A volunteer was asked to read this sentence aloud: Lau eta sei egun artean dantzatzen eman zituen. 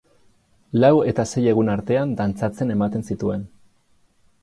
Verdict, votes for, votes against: accepted, 2, 0